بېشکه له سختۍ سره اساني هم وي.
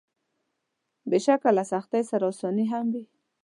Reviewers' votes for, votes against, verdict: 2, 0, accepted